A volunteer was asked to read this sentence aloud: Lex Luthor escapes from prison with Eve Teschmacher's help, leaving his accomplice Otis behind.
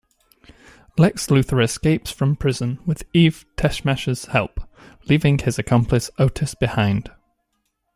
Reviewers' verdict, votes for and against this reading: accepted, 2, 0